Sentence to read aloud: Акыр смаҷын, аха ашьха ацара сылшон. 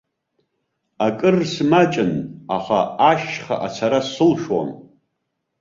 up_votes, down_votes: 2, 1